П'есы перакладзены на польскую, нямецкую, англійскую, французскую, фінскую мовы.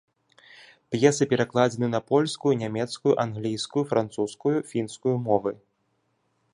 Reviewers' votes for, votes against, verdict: 2, 0, accepted